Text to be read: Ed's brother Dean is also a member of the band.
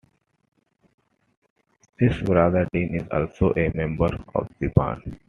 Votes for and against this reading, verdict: 2, 0, accepted